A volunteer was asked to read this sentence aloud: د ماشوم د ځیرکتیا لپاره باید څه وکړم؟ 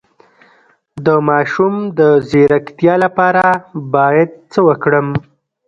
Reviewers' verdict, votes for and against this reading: rejected, 1, 2